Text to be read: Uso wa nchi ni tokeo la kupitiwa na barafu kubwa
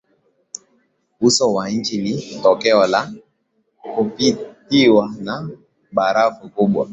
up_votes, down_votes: 6, 0